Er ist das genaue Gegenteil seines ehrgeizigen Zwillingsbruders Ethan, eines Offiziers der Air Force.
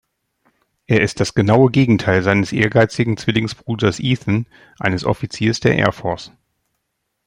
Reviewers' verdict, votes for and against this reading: accepted, 2, 0